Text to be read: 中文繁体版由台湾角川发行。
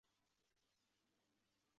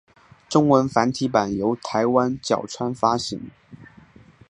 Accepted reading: second